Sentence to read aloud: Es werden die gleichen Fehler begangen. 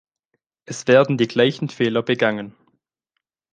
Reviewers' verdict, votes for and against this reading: accepted, 2, 0